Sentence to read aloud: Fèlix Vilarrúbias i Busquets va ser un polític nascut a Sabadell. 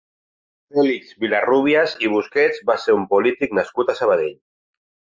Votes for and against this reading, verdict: 2, 0, accepted